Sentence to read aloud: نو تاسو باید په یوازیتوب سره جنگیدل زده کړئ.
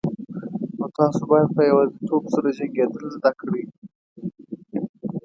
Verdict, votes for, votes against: rejected, 2, 3